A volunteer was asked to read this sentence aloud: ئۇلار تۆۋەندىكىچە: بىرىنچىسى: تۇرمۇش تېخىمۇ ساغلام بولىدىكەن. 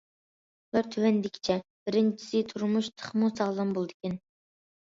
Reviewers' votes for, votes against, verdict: 2, 0, accepted